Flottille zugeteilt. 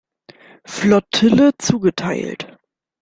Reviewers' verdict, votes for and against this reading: rejected, 1, 2